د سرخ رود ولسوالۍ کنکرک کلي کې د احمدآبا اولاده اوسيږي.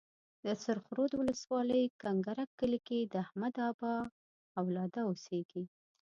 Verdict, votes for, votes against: rejected, 0, 2